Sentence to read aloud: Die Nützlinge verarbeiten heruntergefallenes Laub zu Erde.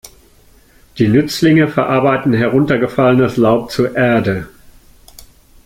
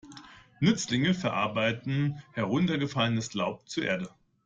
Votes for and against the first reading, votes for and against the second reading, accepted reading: 2, 0, 1, 2, first